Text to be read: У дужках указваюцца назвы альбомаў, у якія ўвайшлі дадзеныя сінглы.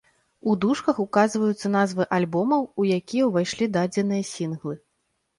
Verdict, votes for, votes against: accepted, 2, 0